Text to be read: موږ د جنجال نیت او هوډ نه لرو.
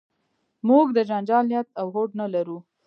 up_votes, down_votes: 2, 0